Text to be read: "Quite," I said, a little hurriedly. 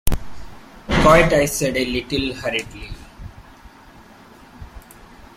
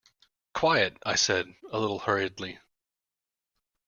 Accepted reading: first